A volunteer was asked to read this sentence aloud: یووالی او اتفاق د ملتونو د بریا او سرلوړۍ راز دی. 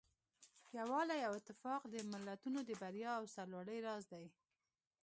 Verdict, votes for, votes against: rejected, 1, 2